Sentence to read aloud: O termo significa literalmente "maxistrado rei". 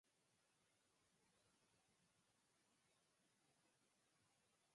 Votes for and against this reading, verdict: 0, 4, rejected